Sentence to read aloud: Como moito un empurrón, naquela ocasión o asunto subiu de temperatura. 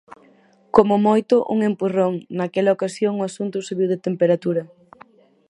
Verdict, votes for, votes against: rejected, 2, 2